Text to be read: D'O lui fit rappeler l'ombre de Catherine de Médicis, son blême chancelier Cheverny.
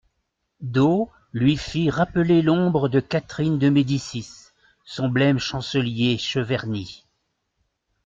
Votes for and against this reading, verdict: 2, 0, accepted